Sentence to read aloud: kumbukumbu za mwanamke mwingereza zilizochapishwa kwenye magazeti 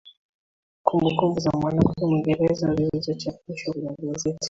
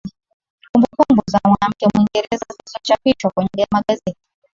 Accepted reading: first